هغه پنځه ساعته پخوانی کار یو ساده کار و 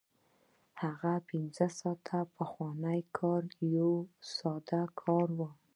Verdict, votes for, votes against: accepted, 2, 0